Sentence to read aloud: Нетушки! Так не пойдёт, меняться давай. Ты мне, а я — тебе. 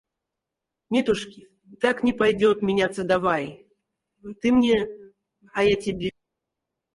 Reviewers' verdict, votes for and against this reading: rejected, 2, 4